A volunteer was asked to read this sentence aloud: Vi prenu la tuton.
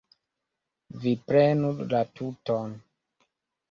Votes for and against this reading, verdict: 2, 0, accepted